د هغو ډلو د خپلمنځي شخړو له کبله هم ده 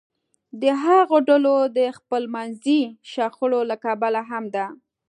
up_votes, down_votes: 2, 0